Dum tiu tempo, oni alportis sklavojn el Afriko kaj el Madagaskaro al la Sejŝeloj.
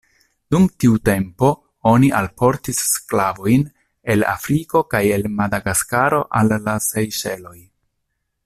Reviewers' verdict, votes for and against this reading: rejected, 1, 2